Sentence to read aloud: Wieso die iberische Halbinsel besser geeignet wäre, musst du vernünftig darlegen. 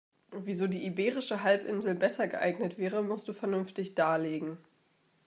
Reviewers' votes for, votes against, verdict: 2, 1, accepted